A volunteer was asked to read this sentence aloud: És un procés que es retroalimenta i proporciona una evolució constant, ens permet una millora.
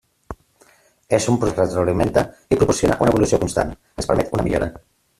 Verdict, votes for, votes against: rejected, 0, 2